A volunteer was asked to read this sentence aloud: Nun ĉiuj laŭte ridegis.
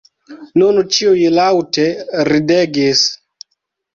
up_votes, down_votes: 1, 2